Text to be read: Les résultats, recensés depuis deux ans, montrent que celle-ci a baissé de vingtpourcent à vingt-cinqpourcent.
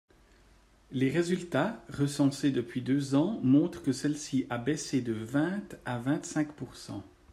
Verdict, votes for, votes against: rejected, 0, 2